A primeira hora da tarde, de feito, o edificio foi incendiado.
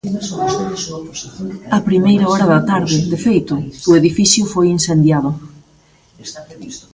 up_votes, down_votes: 1, 2